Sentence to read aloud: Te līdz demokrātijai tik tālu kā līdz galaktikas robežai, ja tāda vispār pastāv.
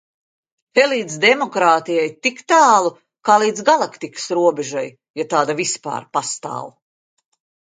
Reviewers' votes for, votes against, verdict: 2, 0, accepted